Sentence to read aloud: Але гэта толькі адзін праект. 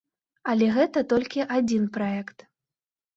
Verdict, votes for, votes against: accepted, 2, 0